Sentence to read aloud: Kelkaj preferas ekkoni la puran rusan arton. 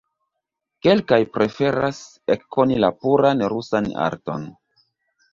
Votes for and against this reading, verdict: 1, 2, rejected